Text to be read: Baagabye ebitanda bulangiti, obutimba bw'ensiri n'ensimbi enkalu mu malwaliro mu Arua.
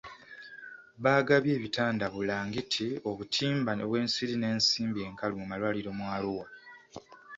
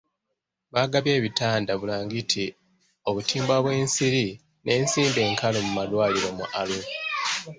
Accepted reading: second